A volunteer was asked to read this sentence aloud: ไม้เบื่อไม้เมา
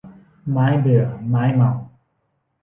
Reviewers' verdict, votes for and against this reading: accepted, 2, 0